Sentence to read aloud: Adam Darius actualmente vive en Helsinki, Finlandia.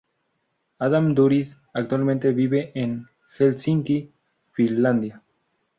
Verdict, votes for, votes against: rejected, 0, 2